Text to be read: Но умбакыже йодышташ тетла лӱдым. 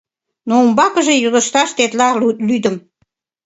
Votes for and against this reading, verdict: 1, 2, rejected